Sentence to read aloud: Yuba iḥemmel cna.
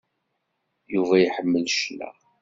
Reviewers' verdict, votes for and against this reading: accepted, 2, 0